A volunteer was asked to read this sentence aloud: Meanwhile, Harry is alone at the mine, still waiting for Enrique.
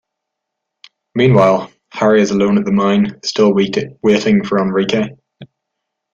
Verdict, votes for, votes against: rejected, 0, 2